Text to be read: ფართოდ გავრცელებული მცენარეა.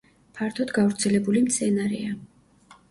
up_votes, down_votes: 2, 0